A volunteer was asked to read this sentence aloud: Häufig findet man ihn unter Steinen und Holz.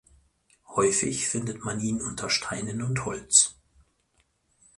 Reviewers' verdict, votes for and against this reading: accepted, 4, 0